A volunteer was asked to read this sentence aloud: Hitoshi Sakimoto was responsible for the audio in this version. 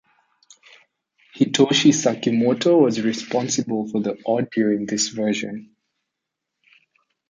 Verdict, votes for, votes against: accepted, 2, 0